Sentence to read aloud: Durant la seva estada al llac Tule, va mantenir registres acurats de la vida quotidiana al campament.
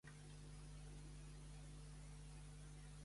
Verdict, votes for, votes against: rejected, 0, 2